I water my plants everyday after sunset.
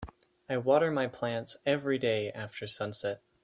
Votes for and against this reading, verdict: 4, 0, accepted